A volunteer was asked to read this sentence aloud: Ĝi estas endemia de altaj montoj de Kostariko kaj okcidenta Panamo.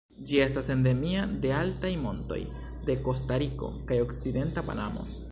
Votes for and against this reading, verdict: 1, 2, rejected